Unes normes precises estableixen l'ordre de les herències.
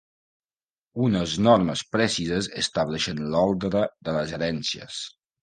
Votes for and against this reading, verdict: 3, 4, rejected